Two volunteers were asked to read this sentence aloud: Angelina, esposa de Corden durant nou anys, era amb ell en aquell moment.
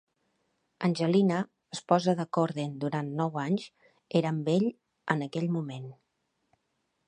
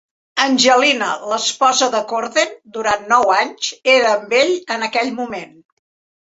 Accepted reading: first